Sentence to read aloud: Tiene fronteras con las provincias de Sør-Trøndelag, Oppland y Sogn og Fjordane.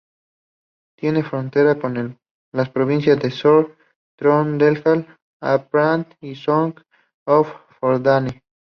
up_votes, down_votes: 2, 0